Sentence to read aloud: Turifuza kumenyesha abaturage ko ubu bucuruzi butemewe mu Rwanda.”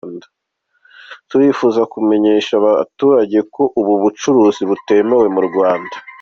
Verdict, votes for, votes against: accepted, 2, 0